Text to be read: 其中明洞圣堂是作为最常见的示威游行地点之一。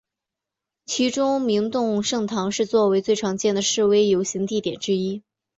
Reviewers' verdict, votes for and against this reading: accepted, 2, 0